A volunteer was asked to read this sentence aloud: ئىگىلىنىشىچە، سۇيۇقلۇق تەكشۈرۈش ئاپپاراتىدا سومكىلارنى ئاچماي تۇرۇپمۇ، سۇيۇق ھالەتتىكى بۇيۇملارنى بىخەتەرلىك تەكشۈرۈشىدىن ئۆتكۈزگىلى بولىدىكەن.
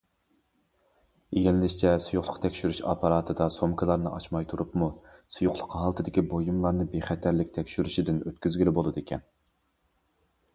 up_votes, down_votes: 0, 2